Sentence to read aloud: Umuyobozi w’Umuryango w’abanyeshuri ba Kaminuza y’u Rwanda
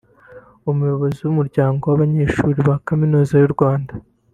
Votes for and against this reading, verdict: 2, 0, accepted